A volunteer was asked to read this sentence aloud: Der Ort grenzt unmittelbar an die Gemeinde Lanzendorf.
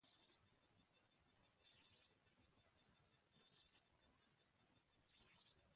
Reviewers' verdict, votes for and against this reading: rejected, 0, 2